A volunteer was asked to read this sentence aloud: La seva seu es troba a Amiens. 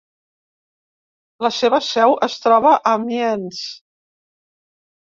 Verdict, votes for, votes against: rejected, 0, 2